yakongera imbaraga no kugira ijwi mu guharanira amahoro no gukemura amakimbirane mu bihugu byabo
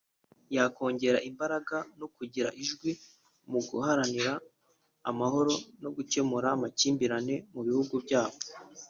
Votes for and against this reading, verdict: 3, 0, accepted